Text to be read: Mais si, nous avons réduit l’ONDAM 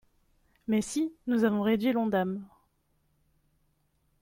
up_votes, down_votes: 2, 0